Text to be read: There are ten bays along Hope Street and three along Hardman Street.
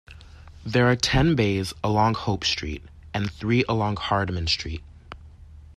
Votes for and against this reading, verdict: 2, 0, accepted